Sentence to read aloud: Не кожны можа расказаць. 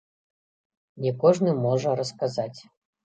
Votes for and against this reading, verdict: 2, 1, accepted